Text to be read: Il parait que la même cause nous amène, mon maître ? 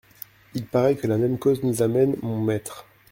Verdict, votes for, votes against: rejected, 1, 2